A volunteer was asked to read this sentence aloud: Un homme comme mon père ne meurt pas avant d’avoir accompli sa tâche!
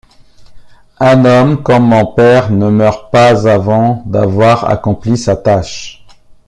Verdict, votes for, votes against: accepted, 2, 0